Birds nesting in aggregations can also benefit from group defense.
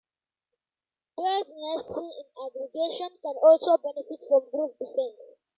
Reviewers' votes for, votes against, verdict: 0, 2, rejected